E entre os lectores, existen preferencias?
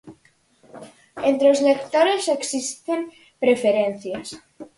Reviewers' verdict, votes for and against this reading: rejected, 0, 4